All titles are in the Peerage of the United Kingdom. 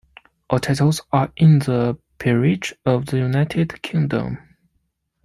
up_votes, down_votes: 1, 2